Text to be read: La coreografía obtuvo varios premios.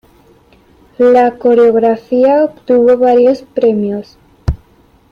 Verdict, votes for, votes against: accepted, 2, 0